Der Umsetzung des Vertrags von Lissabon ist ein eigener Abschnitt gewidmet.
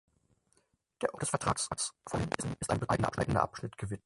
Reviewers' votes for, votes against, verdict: 0, 4, rejected